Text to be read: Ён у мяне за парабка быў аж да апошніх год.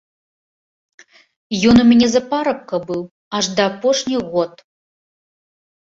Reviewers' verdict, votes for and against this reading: accepted, 2, 0